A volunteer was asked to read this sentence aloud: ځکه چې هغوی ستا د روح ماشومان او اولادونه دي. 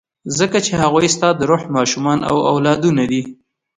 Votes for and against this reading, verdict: 2, 0, accepted